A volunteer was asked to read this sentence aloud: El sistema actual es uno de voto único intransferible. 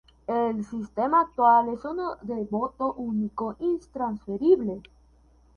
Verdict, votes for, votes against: rejected, 2, 2